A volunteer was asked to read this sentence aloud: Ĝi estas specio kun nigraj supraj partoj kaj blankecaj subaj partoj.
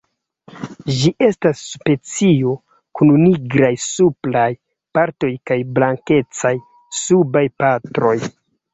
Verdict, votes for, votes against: rejected, 1, 2